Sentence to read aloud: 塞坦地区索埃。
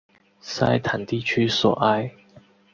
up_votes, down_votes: 4, 2